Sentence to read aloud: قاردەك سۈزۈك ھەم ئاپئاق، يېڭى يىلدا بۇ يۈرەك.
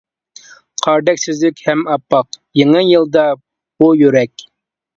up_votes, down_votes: 2, 0